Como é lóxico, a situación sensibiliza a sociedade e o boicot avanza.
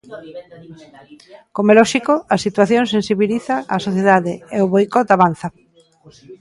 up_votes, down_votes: 2, 1